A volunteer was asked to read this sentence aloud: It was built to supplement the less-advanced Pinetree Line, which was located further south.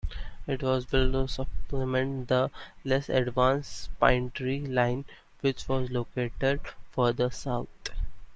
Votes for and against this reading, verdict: 2, 1, accepted